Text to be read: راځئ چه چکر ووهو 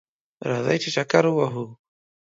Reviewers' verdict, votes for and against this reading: accepted, 2, 0